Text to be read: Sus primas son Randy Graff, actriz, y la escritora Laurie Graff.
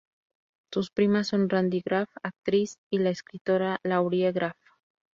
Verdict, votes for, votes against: accepted, 2, 0